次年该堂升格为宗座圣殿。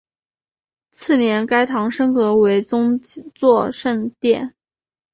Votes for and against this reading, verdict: 5, 0, accepted